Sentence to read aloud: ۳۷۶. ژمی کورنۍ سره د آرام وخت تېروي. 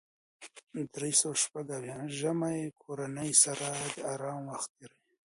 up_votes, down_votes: 0, 2